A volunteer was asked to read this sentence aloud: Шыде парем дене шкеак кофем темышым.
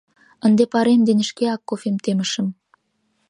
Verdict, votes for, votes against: rejected, 0, 2